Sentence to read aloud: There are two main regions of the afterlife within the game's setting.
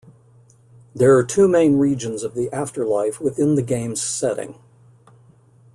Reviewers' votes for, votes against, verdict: 2, 0, accepted